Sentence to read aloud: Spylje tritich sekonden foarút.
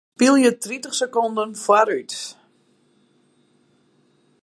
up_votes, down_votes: 2, 2